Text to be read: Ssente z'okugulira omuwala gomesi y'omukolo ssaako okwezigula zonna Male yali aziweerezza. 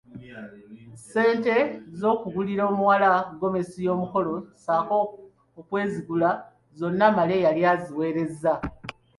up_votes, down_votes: 2, 0